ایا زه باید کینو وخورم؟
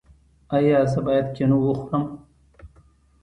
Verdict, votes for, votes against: accepted, 2, 0